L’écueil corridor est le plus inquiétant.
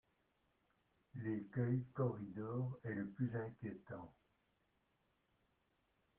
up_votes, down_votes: 2, 0